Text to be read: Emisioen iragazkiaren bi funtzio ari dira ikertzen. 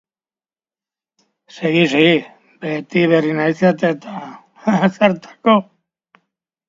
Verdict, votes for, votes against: rejected, 0, 2